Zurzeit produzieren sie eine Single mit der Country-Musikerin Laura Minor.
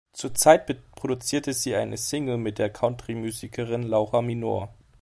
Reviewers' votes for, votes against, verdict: 0, 2, rejected